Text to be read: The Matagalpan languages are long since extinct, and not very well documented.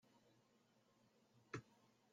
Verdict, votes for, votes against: rejected, 0, 2